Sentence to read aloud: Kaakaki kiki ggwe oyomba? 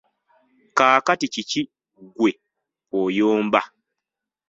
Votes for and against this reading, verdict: 1, 2, rejected